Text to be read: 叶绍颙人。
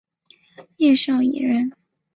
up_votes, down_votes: 2, 3